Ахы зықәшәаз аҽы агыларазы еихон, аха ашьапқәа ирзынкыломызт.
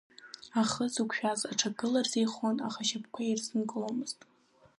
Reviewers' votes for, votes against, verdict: 2, 0, accepted